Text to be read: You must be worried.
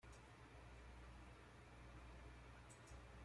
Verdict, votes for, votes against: rejected, 0, 2